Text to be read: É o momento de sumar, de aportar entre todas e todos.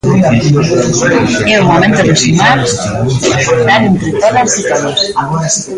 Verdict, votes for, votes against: rejected, 0, 2